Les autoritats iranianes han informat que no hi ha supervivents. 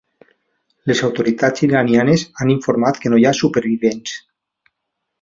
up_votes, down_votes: 2, 0